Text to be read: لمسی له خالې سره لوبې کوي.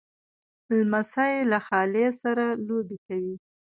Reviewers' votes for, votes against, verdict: 1, 2, rejected